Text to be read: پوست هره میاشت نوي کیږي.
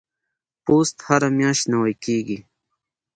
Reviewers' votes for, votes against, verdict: 1, 2, rejected